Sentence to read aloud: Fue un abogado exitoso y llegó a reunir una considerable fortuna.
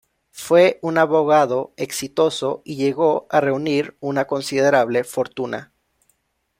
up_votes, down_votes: 2, 0